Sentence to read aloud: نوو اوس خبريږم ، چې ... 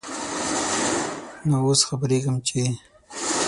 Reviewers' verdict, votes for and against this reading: rejected, 0, 6